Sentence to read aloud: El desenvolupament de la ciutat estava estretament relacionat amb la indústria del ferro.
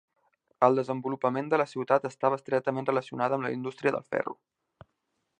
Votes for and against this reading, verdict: 1, 2, rejected